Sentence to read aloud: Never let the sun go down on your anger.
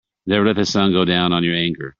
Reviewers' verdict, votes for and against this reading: accepted, 2, 0